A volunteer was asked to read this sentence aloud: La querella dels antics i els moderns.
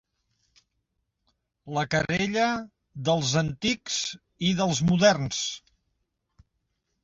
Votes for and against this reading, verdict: 0, 2, rejected